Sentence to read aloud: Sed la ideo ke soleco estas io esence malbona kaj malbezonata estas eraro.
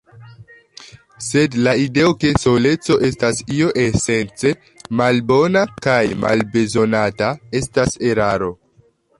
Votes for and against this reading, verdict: 1, 3, rejected